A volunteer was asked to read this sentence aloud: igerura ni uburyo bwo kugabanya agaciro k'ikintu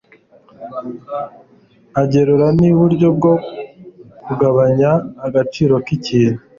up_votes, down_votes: 1, 2